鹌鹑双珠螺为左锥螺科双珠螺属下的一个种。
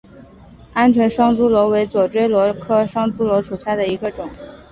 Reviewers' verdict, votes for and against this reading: accepted, 3, 0